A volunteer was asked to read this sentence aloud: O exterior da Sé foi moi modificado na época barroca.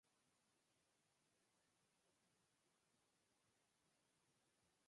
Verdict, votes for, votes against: rejected, 0, 4